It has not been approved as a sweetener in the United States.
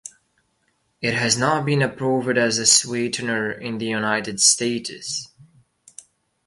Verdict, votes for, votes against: accepted, 2, 1